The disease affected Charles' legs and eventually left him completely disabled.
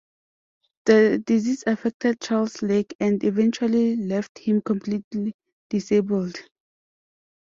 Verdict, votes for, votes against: rejected, 0, 2